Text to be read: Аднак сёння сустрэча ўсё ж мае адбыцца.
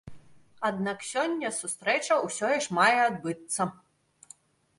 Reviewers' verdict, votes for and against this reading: rejected, 0, 2